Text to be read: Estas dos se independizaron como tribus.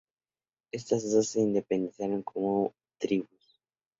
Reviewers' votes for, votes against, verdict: 2, 0, accepted